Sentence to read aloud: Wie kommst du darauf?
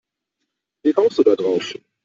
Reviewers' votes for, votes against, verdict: 0, 2, rejected